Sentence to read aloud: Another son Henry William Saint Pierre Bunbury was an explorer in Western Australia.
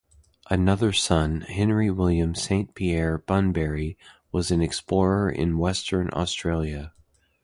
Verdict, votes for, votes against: accepted, 2, 0